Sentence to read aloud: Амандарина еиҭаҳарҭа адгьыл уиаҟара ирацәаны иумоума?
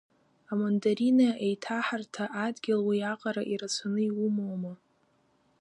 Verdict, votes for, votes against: rejected, 1, 2